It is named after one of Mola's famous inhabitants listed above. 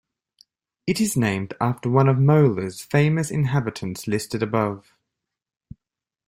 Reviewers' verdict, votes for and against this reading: accepted, 2, 0